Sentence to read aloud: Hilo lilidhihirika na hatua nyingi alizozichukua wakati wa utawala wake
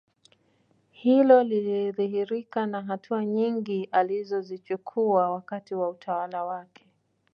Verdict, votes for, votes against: accepted, 2, 0